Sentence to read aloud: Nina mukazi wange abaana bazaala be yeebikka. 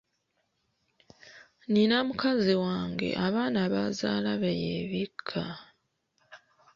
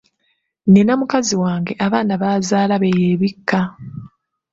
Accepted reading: second